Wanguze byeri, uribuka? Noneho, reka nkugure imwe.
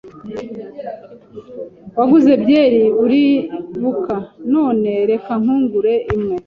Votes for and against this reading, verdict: 0, 2, rejected